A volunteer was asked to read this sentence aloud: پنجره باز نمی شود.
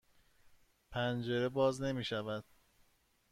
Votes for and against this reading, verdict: 2, 0, accepted